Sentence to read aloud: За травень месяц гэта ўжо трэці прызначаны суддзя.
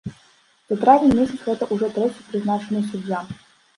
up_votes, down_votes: 1, 2